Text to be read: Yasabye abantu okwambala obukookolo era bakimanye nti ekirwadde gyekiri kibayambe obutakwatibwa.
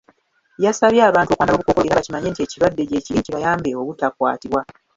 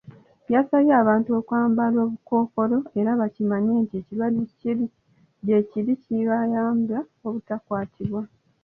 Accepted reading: second